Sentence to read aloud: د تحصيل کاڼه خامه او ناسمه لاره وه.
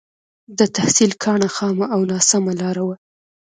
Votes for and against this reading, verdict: 1, 2, rejected